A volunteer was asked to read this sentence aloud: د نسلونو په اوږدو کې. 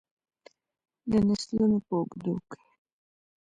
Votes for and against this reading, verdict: 3, 0, accepted